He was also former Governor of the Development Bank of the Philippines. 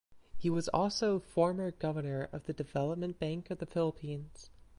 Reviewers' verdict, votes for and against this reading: accepted, 2, 0